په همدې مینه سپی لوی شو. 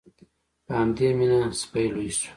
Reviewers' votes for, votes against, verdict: 2, 0, accepted